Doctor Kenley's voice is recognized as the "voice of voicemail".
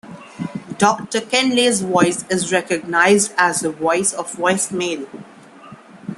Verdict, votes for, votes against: accepted, 2, 0